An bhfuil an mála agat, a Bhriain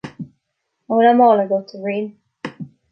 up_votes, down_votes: 2, 0